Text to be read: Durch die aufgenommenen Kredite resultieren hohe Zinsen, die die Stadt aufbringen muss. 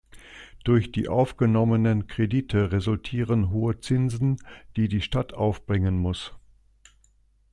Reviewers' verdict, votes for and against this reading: accepted, 2, 0